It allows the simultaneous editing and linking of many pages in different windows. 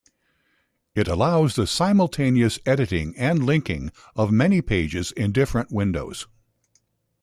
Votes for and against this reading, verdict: 2, 0, accepted